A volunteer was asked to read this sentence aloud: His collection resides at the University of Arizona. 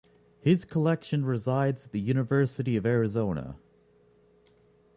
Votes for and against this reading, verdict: 1, 2, rejected